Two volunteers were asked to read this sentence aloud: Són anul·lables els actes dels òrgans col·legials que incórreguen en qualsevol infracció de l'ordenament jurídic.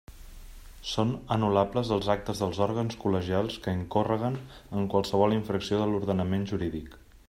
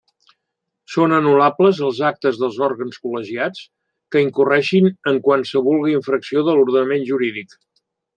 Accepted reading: first